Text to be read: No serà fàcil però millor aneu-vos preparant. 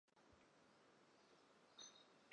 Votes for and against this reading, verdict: 0, 2, rejected